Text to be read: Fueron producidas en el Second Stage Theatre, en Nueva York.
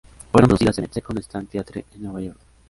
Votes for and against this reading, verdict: 0, 3, rejected